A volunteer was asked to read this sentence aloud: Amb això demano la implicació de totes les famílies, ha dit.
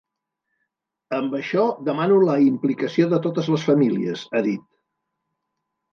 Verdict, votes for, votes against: accepted, 2, 0